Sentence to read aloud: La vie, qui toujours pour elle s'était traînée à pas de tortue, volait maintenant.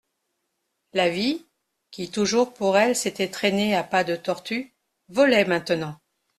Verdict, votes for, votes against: accepted, 2, 0